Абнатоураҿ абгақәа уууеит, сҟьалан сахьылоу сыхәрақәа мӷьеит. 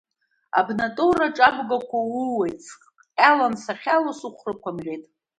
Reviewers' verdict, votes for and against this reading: accepted, 2, 0